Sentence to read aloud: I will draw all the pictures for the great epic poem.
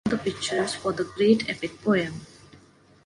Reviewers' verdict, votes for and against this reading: rejected, 1, 2